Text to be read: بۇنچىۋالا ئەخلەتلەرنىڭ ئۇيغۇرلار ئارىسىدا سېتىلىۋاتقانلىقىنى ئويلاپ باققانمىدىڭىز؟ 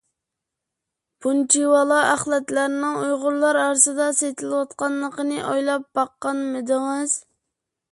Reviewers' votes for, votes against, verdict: 2, 0, accepted